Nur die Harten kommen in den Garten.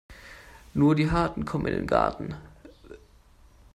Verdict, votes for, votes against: accepted, 2, 0